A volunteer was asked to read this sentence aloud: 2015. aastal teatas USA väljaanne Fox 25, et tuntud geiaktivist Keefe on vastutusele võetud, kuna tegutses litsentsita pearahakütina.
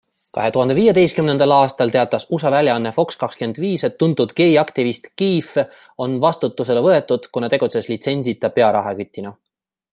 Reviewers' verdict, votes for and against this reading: rejected, 0, 2